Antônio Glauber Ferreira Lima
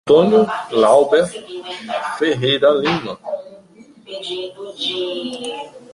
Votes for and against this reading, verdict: 0, 2, rejected